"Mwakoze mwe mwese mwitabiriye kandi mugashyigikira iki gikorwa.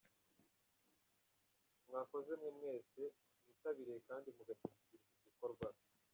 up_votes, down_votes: 0, 2